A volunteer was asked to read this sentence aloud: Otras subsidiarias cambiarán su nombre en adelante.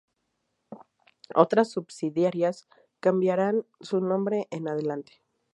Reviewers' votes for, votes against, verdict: 2, 0, accepted